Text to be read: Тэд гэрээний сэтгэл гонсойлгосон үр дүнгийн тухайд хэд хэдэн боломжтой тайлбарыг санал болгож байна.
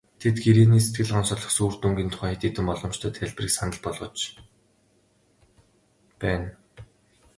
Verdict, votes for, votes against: rejected, 0, 2